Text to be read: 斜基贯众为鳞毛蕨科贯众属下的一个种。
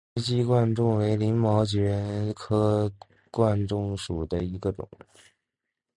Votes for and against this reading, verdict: 0, 2, rejected